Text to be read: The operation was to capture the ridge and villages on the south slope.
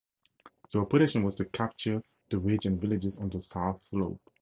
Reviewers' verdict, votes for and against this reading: accepted, 2, 0